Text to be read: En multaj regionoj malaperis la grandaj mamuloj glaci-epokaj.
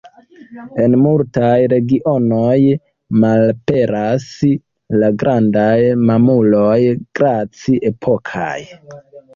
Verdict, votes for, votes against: rejected, 0, 2